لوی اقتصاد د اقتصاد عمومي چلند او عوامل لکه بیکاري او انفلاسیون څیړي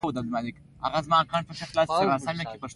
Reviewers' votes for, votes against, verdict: 1, 2, rejected